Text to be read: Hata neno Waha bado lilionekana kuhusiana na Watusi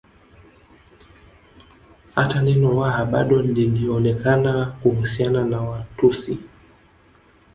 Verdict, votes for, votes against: accepted, 4, 1